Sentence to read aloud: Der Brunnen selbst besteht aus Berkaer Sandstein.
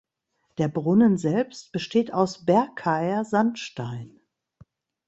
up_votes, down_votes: 2, 0